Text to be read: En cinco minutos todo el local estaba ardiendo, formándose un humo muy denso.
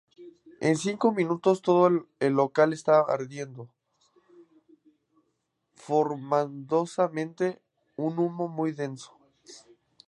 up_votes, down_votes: 0, 2